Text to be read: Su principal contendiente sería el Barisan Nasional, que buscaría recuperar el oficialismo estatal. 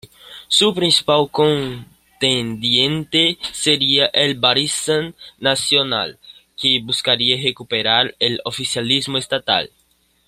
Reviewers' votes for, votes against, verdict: 2, 0, accepted